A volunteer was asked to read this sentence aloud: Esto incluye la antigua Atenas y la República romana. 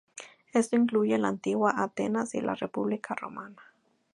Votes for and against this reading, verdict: 2, 0, accepted